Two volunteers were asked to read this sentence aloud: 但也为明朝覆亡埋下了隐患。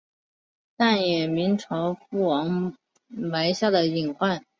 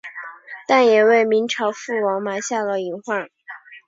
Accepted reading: second